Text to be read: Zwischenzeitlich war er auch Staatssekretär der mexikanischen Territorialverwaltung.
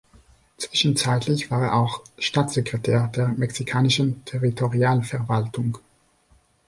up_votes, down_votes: 2, 0